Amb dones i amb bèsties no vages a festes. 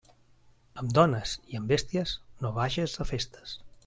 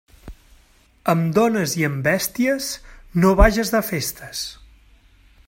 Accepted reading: first